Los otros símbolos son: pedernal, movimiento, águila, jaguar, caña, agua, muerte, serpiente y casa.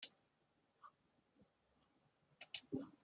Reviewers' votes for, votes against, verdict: 0, 2, rejected